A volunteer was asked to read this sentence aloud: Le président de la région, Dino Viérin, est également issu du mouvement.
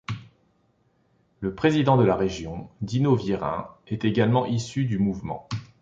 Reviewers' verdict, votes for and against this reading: accepted, 3, 0